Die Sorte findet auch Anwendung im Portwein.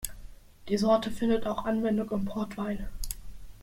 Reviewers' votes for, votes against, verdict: 2, 0, accepted